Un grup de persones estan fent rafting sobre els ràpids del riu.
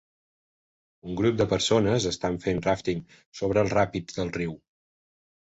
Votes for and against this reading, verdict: 1, 2, rejected